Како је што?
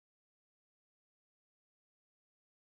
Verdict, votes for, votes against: rejected, 0, 2